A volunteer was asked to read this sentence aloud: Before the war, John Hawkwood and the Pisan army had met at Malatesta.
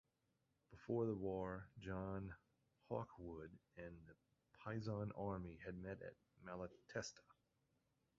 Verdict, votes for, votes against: rejected, 0, 2